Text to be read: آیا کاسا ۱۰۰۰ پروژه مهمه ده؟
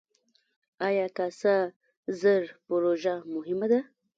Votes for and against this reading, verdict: 0, 2, rejected